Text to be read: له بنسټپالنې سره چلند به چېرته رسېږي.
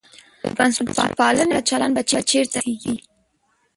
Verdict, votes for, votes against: rejected, 1, 2